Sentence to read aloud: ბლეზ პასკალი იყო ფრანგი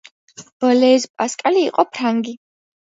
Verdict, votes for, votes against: accepted, 2, 0